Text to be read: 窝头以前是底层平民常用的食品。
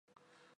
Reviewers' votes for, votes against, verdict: 0, 3, rejected